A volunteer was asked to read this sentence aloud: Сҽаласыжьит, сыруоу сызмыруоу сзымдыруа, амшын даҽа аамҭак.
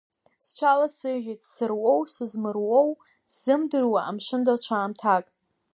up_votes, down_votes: 1, 2